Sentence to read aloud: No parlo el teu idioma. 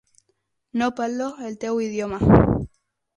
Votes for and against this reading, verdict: 0, 6, rejected